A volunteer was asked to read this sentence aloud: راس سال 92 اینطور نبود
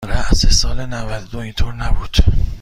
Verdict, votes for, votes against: rejected, 0, 2